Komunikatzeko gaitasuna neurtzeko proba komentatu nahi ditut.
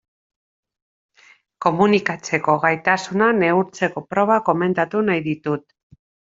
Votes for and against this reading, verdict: 3, 1, accepted